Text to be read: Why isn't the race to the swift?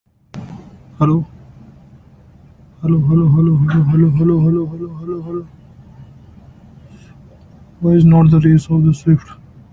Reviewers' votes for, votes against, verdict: 0, 2, rejected